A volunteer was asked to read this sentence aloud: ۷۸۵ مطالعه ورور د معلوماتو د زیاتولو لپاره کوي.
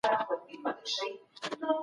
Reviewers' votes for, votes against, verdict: 0, 2, rejected